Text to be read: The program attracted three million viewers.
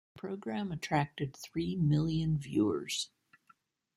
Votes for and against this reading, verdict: 1, 2, rejected